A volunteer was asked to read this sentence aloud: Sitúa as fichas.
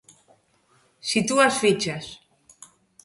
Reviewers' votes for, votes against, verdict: 2, 0, accepted